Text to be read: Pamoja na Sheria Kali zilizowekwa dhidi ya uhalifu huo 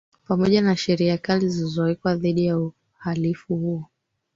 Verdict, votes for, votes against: rejected, 3, 4